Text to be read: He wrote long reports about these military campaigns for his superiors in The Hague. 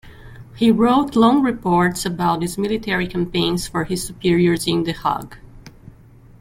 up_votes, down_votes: 2, 0